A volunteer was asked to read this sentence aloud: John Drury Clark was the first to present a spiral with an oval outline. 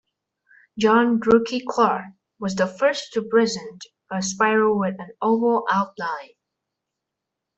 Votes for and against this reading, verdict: 0, 2, rejected